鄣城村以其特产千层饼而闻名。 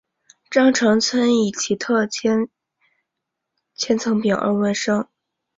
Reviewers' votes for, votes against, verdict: 0, 2, rejected